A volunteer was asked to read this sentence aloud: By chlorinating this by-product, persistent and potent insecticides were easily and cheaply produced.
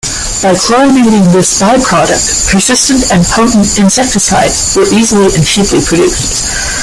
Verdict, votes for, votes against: accepted, 2, 1